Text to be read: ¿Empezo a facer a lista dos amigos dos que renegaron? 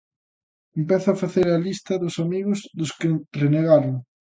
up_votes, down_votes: 2, 1